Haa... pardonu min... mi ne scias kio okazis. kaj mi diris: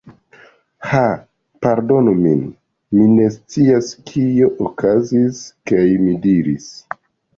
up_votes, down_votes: 2, 1